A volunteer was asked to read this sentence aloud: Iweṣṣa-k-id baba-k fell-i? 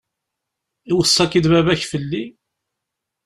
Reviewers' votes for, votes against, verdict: 1, 2, rejected